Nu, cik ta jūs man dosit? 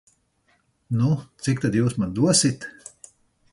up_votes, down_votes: 2, 4